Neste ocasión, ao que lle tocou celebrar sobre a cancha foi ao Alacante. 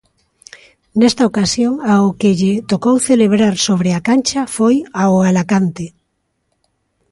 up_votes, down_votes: 2, 0